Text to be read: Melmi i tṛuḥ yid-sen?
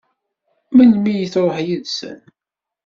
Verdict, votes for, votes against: accepted, 2, 0